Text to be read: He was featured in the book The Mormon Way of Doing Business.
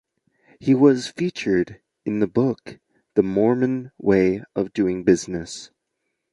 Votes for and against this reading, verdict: 3, 0, accepted